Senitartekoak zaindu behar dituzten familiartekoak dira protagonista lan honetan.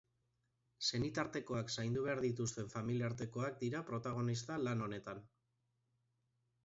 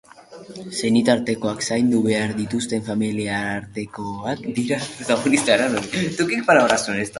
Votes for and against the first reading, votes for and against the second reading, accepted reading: 2, 1, 0, 2, first